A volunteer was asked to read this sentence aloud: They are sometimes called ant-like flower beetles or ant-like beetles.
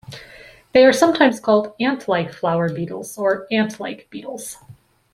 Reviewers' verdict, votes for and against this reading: accepted, 2, 0